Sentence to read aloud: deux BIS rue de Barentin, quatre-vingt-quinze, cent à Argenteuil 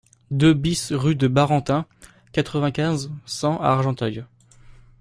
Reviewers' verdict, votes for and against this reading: accepted, 2, 0